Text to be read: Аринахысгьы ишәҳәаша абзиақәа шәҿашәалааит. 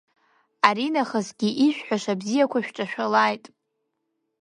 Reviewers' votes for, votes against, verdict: 2, 0, accepted